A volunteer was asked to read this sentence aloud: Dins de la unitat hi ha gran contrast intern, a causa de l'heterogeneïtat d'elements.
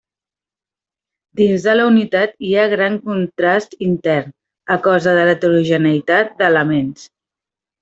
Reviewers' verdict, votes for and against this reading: accepted, 2, 0